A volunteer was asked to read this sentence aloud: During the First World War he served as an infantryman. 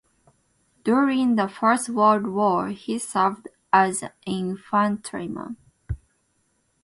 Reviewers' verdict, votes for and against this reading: accepted, 2, 0